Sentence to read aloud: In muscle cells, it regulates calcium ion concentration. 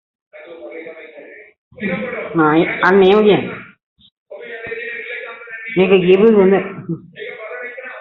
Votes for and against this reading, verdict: 0, 3, rejected